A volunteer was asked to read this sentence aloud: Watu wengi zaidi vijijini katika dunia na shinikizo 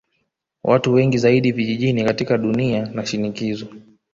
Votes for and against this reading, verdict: 1, 2, rejected